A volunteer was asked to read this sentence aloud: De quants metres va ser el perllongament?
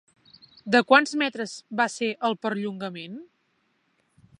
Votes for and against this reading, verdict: 3, 0, accepted